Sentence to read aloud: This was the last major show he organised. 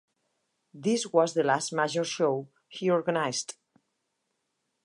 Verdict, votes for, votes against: accepted, 4, 0